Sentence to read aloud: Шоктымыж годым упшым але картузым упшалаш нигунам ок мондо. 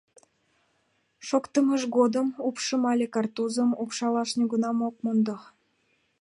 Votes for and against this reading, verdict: 2, 0, accepted